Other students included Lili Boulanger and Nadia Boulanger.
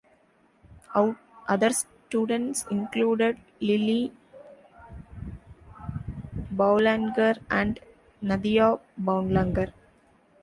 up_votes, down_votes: 0, 2